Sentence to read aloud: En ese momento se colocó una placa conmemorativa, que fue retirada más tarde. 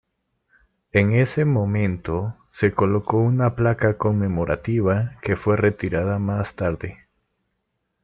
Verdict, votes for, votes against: rejected, 1, 2